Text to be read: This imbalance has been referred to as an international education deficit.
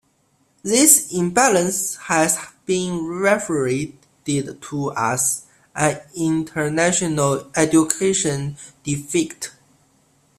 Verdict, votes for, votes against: rejected, 1, 2